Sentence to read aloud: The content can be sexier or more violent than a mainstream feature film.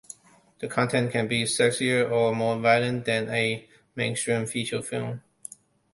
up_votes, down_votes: 2, 0